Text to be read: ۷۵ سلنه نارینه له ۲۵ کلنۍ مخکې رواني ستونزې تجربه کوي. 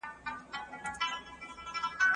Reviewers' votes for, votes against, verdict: 0, 2, rejected